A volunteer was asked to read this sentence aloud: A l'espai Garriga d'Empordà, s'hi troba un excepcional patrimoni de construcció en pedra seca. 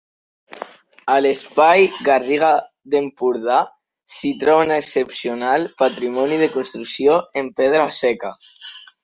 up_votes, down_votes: 1, 2